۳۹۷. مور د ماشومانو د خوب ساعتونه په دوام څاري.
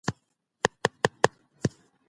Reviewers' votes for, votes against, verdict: 0, 2, rejected